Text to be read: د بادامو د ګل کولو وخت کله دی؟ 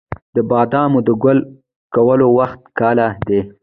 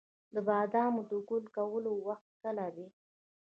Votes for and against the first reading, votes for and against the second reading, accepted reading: 1, 2, 2, 0, second